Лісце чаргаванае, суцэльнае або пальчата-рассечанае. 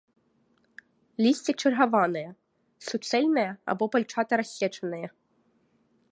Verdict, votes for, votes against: rejected, 0, 2